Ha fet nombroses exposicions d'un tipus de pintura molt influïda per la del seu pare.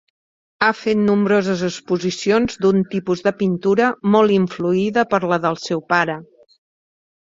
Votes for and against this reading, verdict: 4, 0, accepted